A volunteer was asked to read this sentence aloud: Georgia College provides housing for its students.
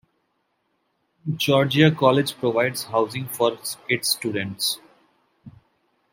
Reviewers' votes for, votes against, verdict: 1, 2, rejected